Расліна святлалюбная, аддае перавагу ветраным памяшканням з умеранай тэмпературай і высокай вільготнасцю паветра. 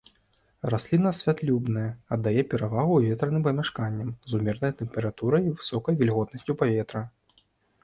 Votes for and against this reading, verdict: 0, 2, rejected